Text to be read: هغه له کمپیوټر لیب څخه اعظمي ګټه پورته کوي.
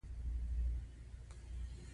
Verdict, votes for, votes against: accepted, 2, 1